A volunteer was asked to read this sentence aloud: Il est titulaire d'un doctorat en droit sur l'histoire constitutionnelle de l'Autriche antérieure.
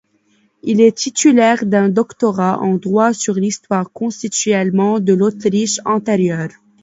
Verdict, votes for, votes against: accepted, 2, 1